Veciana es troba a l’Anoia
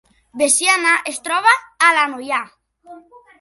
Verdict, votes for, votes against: rejected, 0, 2